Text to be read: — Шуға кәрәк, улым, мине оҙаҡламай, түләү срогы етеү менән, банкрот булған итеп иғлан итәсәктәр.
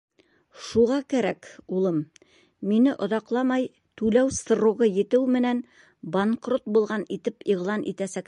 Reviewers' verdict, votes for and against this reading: rejected, 0, 2